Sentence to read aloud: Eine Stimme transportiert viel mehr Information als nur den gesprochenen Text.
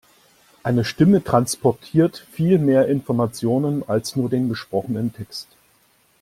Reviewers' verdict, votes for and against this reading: rejected, 0, 2